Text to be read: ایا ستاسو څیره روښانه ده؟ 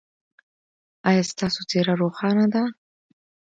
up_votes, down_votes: 2, 0